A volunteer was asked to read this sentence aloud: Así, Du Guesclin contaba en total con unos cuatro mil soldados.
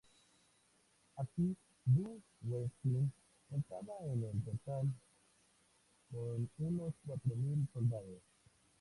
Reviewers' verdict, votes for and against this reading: rejected, 0, 2